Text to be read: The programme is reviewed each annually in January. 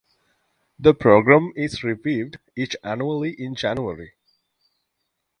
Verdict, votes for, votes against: accepted, 2, 0